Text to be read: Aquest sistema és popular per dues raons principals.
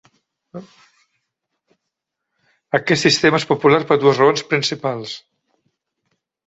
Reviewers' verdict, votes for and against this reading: accepted, 3, 0